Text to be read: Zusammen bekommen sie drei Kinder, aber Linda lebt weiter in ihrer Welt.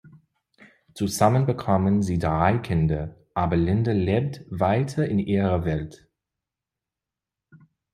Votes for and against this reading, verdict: 2, 0, accepted